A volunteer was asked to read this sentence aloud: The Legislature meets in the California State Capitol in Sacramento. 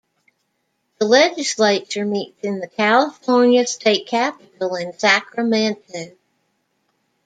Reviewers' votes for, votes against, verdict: 1, 2, rejected